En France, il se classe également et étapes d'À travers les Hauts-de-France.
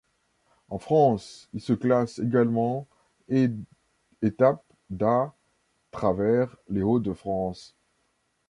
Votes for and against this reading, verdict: 2, 1, accepted